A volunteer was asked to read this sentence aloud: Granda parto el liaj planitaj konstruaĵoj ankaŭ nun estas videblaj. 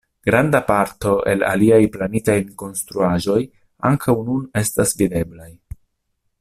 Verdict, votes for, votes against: rejected, 0, 2